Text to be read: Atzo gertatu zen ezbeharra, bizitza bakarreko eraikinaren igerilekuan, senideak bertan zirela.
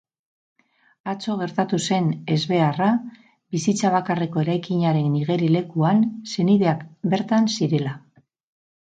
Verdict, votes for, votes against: accepted, 14, 0